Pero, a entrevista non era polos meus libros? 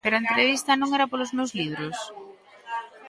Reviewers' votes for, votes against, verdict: 2, 1, accepted